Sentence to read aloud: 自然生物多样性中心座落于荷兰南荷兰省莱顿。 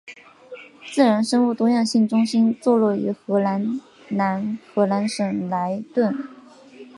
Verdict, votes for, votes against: accepted, 3, 0